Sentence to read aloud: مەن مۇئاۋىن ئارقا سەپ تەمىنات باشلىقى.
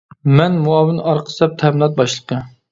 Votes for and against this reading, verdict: 2, 0, accepted